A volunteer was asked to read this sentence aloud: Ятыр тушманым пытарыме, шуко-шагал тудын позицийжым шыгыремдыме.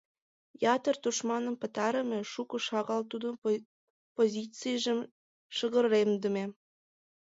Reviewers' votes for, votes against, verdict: 0, 4, rejected